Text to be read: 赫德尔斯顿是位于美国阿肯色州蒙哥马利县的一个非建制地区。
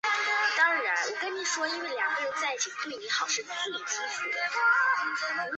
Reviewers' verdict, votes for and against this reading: rejected, 0, 3